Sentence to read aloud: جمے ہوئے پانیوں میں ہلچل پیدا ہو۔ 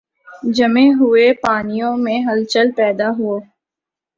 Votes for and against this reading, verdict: 4, 0, accepted